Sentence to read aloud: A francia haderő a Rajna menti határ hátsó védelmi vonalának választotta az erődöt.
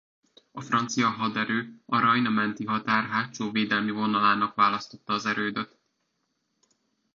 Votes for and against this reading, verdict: 2, 0, accepted